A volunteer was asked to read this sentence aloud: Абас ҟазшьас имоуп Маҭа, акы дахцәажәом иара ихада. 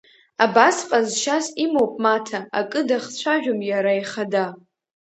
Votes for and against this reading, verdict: 0, 2, rejected